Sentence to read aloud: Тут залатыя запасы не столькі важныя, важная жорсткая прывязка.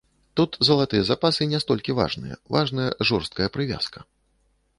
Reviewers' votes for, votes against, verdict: 2, 0, accepted